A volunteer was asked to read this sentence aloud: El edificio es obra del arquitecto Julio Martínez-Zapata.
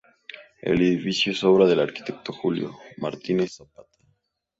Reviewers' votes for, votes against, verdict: 2, 0, accepted